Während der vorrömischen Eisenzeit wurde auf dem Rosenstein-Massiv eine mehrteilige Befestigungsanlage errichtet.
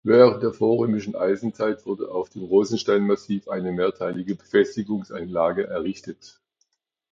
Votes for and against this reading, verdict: 2, 1, accepted